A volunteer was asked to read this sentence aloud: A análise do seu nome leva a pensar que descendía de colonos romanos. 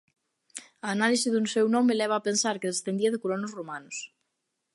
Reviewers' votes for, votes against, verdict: 1, 2, rejected